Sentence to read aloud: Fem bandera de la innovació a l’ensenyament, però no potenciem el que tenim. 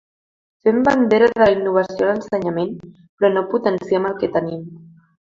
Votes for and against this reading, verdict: 2, 1, accepted